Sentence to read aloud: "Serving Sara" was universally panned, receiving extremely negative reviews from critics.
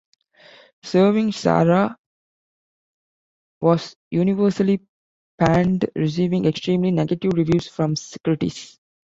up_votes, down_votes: 1, 2